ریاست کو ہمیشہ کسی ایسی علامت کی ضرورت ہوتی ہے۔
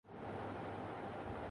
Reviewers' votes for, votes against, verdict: 0, 2, rejected